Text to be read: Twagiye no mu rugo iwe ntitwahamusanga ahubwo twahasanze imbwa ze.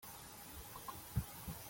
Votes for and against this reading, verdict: 0, 3, rejected